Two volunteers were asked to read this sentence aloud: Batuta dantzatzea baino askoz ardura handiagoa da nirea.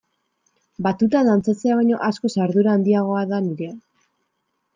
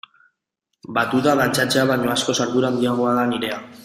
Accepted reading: first